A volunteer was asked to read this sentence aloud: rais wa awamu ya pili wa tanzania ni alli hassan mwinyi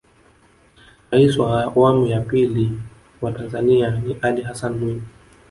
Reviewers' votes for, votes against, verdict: 2, 1, accepted